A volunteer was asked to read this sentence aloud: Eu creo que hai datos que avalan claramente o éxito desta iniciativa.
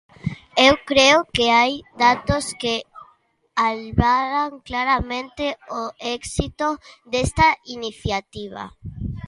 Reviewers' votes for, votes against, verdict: 0, 2, rejected